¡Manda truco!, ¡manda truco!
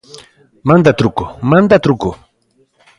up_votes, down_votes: 2, 0